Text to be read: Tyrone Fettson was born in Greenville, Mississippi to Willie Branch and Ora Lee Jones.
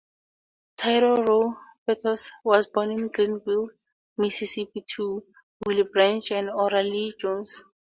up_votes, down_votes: 0, 4